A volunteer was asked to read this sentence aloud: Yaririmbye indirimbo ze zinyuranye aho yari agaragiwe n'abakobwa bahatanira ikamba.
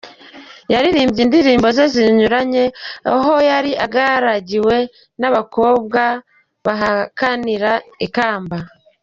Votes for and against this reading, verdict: 0, 2, rejected